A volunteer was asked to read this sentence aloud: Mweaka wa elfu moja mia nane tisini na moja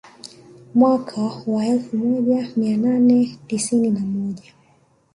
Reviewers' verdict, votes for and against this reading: rejected, 0, 2